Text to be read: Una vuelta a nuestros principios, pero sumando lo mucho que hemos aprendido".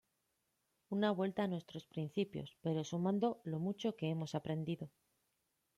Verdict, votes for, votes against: accepted, 2, 0